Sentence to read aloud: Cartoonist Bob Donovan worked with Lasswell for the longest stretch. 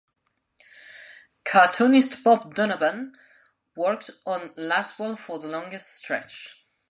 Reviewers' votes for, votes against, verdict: 0, 2, rejected